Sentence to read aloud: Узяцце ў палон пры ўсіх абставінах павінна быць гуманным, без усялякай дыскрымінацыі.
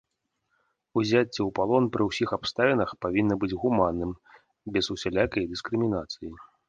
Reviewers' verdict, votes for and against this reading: accepted, 2, 0